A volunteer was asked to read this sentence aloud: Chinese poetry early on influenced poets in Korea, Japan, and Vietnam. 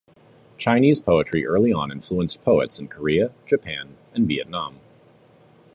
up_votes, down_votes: 2, 0